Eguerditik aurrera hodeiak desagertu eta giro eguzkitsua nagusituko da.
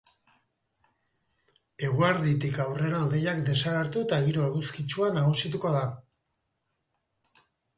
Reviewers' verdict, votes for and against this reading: rejected, 0, 2